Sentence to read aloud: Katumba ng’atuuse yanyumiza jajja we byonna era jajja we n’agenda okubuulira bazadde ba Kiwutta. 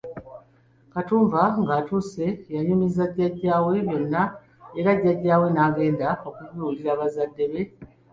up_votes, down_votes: 2, 0